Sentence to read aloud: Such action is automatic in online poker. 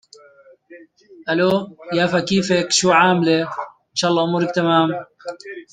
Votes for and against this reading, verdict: 0, 2, rejected